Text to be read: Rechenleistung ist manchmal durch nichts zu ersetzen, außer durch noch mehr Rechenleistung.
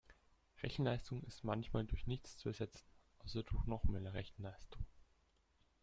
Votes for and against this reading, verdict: 1, 2, rejected